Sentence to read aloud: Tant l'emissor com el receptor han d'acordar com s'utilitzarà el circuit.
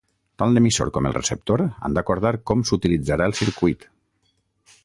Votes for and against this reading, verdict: 6, 0, accepted